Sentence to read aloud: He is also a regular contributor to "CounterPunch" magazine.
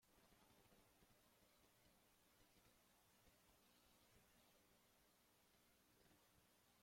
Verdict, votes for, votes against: rejected, 0, 2